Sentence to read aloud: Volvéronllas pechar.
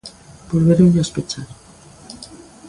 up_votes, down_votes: 2, 0